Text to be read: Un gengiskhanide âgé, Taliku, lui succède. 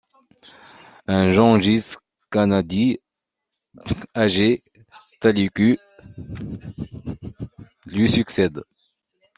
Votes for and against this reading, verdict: 0, 2, rejected